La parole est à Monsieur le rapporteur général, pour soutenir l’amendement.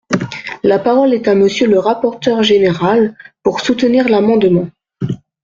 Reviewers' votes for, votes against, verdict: 2, 0, accepted